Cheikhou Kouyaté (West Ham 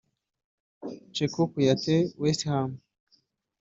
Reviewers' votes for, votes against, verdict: 1, 2, rejected